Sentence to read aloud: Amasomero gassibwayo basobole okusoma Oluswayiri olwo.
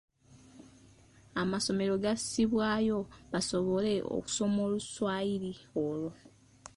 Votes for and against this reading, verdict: 2, 0, accepted